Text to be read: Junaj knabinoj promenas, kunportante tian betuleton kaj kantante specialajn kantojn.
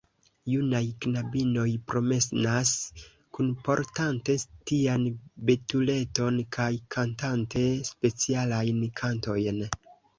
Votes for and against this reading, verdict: 0, 2, rejected